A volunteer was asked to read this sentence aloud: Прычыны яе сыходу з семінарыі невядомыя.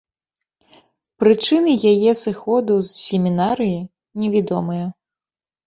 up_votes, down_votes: 1, 2